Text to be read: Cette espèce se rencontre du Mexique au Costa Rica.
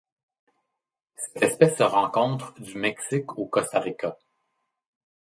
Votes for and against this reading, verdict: 1, 2, rejected